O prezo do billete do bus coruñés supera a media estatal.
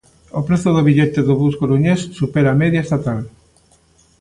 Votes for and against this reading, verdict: 3, 0, accepted